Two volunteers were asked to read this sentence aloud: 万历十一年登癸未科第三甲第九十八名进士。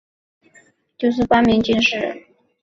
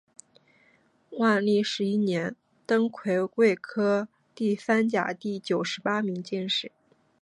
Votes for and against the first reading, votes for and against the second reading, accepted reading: 0, 3, 4, 2, second